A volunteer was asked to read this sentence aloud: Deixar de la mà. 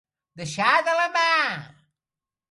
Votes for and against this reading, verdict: 0, 3, rejected